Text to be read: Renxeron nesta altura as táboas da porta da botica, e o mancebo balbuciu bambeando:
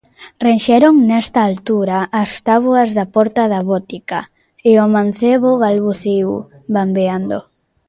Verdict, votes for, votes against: rejected, 1, 2